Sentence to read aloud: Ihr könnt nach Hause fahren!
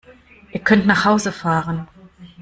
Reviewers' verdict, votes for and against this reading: accepted, 2, 0